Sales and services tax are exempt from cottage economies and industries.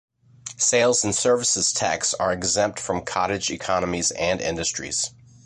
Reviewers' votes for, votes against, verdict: 2, 0, accepted